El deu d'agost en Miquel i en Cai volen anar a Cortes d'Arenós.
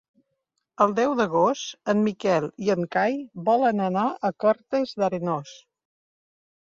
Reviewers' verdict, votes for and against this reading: accepted, 4, 0